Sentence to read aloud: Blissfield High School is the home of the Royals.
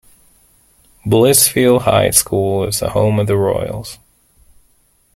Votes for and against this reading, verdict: 2, 0, accepted